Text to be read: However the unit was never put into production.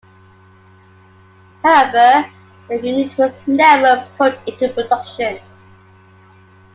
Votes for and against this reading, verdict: 2, 0, accepted